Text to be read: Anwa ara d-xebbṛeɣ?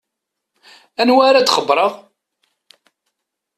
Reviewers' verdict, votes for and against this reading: accepted, 2, 0